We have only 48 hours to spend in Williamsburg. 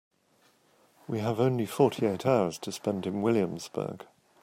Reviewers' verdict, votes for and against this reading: rejected, 0, 2